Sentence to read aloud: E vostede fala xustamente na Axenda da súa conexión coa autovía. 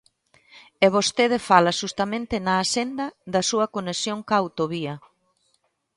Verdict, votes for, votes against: accepted, 2, 1